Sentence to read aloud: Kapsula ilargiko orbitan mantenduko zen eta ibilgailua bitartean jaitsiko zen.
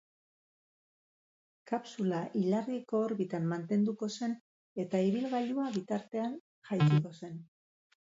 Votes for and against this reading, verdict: 2, 6, rejected